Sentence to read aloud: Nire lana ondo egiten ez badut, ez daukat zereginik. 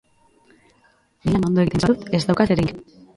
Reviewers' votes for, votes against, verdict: 0, 2, rejected